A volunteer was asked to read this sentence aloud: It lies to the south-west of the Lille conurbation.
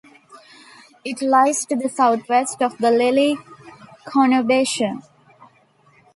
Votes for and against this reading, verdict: 0, 2, rejected